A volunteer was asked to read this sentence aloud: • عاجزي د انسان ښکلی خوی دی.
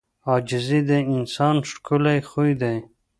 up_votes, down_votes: 3, 0